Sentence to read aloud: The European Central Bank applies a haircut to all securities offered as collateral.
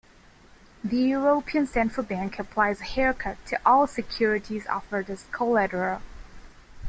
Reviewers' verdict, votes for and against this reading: accepted, 2, 0